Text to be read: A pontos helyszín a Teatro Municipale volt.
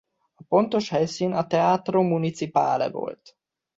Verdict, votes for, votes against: accepted, 2, 0